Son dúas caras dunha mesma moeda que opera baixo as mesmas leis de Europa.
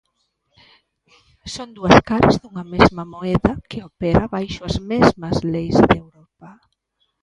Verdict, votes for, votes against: accepted, 3, 0